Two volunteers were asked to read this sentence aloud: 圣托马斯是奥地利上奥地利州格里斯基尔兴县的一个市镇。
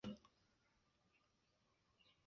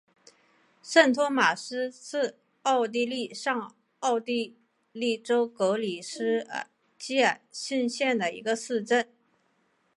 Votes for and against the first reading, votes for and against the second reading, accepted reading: 0, 5, 2, 0, second